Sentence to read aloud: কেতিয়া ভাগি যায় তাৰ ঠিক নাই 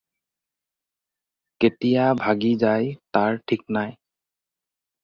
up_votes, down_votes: 4, 0